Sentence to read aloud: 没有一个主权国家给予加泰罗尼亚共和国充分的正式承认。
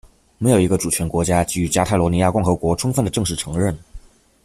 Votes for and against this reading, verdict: 2, 0, accepted